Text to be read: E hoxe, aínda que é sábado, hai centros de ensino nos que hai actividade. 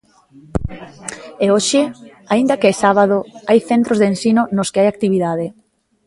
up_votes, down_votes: 2, 0